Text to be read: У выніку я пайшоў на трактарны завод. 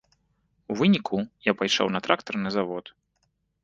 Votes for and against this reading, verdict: 2, 0, accepted